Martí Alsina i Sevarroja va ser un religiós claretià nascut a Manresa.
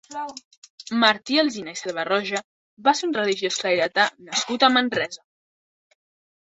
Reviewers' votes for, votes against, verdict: 2, 4, rejected